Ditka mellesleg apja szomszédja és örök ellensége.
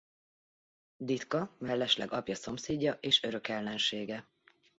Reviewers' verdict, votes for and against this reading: accepted, 2, 0